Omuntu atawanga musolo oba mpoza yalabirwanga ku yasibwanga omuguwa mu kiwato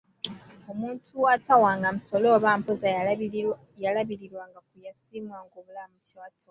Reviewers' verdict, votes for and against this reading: rejected, 1, 2